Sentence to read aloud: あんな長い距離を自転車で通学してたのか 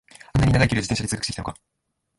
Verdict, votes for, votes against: rejected, 1, 2